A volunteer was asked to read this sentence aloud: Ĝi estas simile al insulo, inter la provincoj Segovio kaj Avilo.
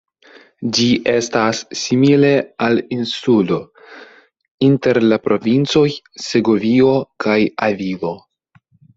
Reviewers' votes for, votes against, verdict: 1, 2, rejected